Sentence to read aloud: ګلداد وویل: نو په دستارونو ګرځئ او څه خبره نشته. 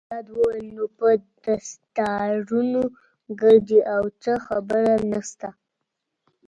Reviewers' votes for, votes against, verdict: 1, 2, rejected